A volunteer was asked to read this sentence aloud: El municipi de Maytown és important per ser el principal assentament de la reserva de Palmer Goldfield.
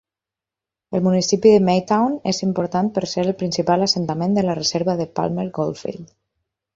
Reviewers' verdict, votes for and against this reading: accepted, 8, 0